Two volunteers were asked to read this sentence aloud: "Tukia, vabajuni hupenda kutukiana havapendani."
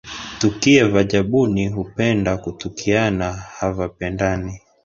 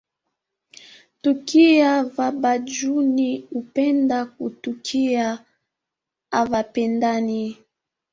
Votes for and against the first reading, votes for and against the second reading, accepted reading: 2, 0, 1, 4, first